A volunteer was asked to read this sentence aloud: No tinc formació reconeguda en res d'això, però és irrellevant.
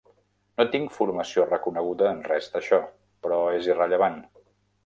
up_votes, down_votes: 0, 2